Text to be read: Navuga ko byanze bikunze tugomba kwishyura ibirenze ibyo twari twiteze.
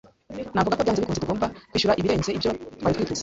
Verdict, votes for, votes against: rejected, 0, 2